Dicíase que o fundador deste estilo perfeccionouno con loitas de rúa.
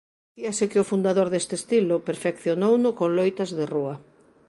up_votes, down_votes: 0, 2